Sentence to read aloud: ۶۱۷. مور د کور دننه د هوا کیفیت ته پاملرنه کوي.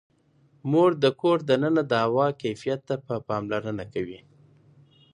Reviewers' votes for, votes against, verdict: 0, 2, rejected